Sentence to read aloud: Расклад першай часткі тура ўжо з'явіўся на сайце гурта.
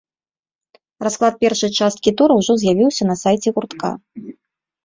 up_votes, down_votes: 0, 2